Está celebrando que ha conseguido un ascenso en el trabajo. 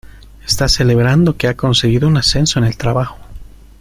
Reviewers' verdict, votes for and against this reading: accepted, 2, 0